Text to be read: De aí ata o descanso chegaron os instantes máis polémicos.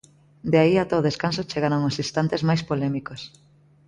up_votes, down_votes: 2, 0